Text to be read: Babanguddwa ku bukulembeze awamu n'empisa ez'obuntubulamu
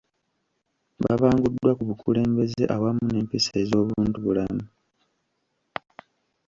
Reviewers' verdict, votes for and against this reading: rejected, 1, 2